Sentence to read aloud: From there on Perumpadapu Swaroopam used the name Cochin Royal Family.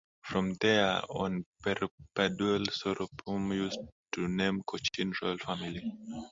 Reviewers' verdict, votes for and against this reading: rejected, 0, 2